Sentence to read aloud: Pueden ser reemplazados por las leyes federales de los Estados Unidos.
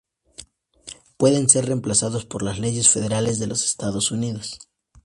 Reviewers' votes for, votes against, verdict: 2, 0, accepted